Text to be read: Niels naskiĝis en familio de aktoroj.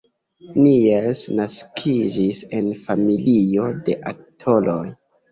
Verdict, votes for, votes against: accepted, 2, 0